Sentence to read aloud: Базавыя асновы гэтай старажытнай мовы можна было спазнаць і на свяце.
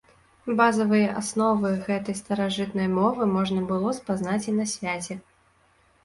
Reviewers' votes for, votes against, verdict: 2, 0, accepted